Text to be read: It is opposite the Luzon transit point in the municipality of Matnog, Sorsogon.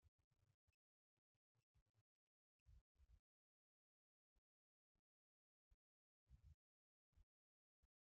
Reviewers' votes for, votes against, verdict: 0, 2, rejected